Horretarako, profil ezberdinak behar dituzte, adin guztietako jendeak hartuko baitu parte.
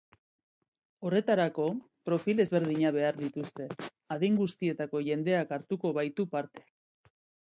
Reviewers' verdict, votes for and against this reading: accepted, 2, 0